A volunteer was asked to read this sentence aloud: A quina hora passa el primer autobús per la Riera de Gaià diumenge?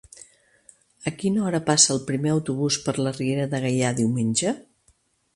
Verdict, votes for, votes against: accepted, 3, 0